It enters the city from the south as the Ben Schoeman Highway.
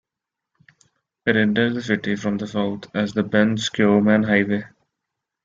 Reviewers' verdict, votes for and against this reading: rejected, 0, 2